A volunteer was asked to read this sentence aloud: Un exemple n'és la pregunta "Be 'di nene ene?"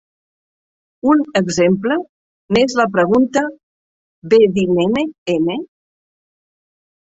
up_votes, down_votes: 0, 2